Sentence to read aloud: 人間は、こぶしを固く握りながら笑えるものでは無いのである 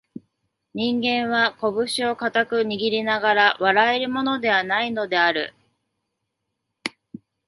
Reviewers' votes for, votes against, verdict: 2, 0, accepted